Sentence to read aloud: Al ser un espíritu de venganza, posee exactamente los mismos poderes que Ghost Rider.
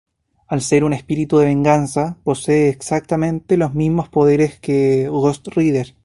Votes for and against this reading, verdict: 2, 0, accepted